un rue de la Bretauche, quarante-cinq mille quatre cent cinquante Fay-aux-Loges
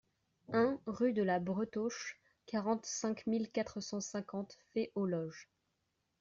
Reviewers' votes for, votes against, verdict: 2, 1, accepted